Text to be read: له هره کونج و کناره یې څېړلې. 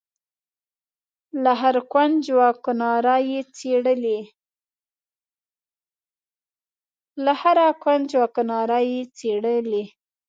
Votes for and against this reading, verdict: 0, 2, rejected